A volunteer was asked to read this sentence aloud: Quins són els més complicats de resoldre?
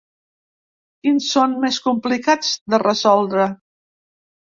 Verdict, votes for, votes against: rejected, 1, 2